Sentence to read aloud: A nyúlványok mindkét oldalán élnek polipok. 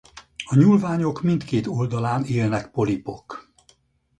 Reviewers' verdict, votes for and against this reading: accepted, 6, 0